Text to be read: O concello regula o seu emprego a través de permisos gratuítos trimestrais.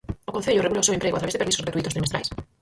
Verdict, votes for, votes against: rejected, 0, 4